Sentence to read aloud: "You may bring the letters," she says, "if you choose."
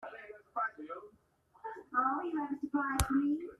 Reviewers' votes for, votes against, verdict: 0, 2, rejected